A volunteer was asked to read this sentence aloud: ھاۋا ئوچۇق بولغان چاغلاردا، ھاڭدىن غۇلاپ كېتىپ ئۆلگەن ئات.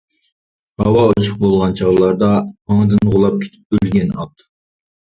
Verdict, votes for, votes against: rejected, 0, 2